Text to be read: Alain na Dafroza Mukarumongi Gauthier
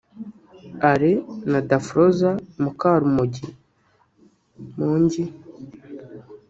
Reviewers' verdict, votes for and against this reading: rejected, 0, 2